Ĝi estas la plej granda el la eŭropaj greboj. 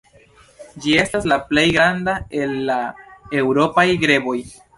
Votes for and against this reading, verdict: 2, 0, accepted